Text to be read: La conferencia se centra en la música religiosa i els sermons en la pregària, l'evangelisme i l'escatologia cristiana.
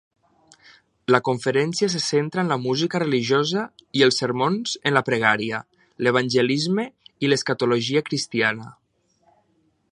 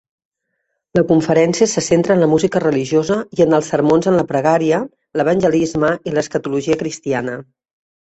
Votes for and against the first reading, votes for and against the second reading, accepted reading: 2, 0, 0, 2, first